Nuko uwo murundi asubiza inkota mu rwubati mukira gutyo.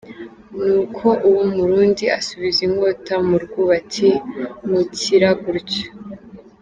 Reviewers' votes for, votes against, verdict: 2, 0, accepted